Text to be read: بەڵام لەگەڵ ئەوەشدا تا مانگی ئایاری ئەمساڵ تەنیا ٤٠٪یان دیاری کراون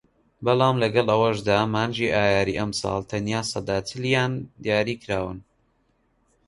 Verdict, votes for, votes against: rejected, 0, 2